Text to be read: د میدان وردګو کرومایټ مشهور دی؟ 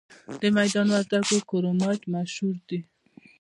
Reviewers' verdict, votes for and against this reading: accepted, 2, 0